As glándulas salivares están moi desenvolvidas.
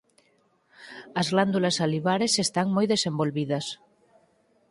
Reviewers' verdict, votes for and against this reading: accepted, 4, 0